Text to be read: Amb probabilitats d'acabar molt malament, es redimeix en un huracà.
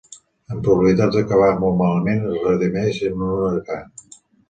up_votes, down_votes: 2, 1